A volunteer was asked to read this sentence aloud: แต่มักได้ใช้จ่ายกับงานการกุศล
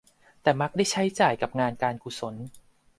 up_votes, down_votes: 2, 0